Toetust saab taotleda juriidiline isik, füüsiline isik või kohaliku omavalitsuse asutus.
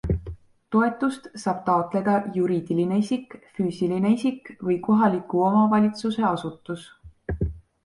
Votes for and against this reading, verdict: 2, 0, accepted